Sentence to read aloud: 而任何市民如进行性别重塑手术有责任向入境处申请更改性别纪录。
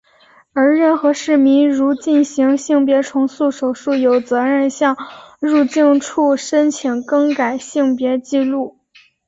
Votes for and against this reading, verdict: 4, 1, accepted